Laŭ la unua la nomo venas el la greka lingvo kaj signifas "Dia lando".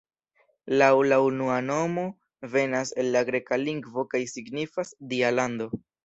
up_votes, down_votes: 2, 0